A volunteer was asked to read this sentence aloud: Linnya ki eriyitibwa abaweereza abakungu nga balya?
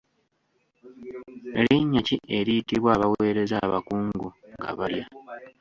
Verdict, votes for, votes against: rejected, 1, 2